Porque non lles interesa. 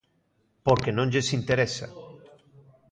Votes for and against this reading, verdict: 2, 0, accepted